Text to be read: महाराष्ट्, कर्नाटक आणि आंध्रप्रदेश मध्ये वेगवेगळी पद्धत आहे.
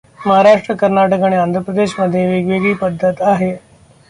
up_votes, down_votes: 2, 0